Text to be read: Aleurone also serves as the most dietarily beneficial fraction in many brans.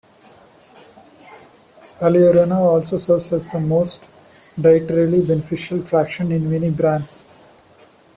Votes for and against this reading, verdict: 1, 2, rejected